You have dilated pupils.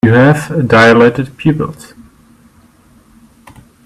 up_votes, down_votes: 2, 0